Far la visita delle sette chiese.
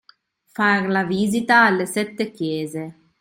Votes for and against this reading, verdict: 0, 2, rejected